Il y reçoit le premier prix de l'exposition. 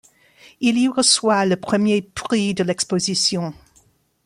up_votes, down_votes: 2, 0